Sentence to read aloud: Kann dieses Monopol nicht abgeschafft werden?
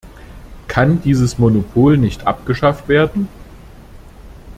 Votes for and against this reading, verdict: 2, 0, accepted